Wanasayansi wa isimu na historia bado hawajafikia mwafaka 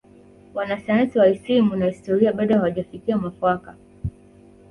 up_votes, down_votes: 0, 2